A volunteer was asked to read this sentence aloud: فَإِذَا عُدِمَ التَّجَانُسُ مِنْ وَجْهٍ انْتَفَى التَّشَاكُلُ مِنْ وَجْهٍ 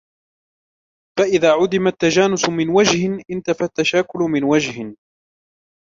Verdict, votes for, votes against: rejected, 0, 2